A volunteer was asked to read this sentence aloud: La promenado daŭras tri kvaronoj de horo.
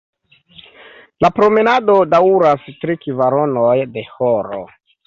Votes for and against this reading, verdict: 1, 2, rejected